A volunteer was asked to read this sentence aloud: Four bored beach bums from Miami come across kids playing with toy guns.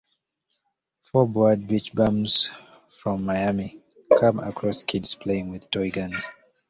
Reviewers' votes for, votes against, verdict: 2, 0, accepted